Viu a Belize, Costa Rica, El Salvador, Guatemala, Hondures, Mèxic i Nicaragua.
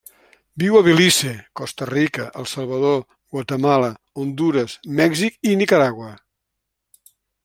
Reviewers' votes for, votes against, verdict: 3, 0, accepted